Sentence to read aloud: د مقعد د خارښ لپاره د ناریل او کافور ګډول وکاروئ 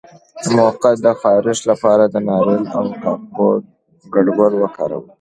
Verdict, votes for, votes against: accepted, 2, 0